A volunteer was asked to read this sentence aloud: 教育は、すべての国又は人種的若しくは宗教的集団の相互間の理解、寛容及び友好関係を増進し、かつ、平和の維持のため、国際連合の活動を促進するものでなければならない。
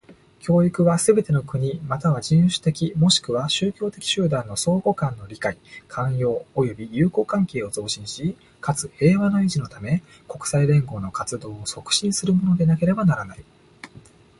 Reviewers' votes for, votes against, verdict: 2, 1, accepted